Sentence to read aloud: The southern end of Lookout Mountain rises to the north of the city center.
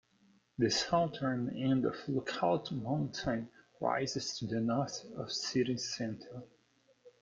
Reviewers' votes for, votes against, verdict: 0, 2, rejected